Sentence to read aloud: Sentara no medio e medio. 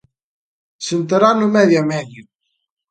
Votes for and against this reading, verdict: 0, 2, rejected